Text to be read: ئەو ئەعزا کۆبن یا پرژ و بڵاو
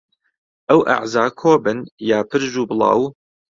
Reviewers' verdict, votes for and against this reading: accepted, 2, 0